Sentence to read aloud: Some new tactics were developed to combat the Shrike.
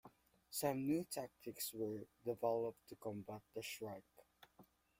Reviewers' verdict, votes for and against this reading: accepted, 2, 1